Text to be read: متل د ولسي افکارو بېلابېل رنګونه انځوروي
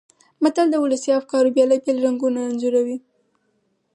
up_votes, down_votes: 2, 4